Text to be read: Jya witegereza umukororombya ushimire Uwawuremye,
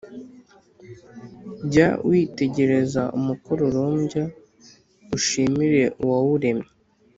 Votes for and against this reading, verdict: 3, 0, accepted